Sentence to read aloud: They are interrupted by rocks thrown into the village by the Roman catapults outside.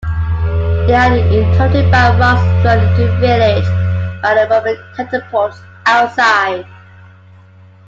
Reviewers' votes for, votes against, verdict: 2, 1, accepted